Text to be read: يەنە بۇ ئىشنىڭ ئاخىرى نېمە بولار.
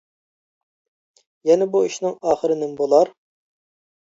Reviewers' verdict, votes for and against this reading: accepted, 2, 0